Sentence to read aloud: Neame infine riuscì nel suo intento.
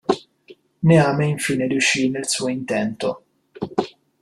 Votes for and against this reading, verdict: 2, 0, accepted